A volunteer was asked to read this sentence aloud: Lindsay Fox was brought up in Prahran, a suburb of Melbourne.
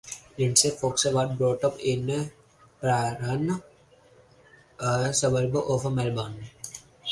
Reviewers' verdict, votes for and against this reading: rejected, 2, 4